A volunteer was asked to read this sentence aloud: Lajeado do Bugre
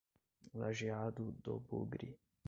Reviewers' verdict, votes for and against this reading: rejected, 1, 2